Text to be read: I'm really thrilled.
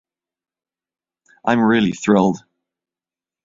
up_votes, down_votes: 2, 0